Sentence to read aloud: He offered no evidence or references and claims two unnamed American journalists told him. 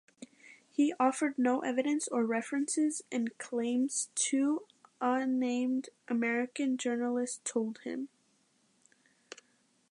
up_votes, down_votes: 1, 2